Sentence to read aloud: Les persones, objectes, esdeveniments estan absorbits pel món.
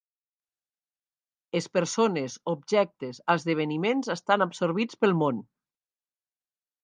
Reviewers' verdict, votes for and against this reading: accepted, 2, 0